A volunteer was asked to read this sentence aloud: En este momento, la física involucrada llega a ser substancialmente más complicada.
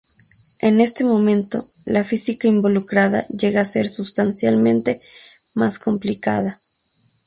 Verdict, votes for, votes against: accepted, 2, 0